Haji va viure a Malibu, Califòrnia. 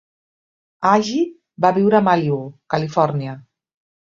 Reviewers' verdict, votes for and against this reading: rejected, 1, 2